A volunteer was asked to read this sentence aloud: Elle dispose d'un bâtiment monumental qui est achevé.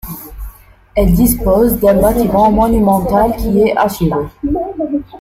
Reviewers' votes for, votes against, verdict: 1, 2, rejected